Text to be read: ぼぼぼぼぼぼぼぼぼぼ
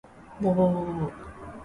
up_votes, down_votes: 2, 1